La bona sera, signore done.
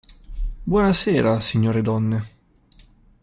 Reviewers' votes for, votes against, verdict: 1, 2, rejected